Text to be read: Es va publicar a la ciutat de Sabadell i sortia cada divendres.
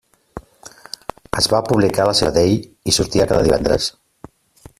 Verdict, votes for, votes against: rejected, 0, 2